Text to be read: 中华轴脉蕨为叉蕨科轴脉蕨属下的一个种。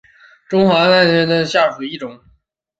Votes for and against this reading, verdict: 3, 4, rejected